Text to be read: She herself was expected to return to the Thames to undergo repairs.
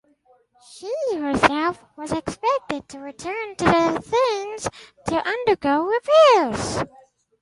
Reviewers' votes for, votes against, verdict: 2, 2, rejected